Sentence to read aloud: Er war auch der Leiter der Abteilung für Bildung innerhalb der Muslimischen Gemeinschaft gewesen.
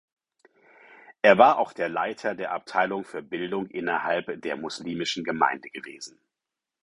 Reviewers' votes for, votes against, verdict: 0, 4, rejected